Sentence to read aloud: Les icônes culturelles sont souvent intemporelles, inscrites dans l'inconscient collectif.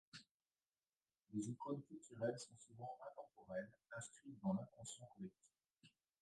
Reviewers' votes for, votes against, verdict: 1, 2, rejected